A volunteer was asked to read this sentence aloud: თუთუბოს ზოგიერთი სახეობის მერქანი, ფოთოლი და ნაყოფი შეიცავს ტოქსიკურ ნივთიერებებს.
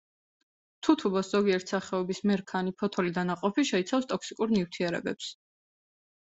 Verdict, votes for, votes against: accepted, 2, 0